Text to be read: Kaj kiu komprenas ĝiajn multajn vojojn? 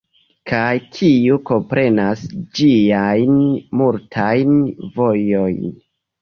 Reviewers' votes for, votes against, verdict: 2, 1, accepted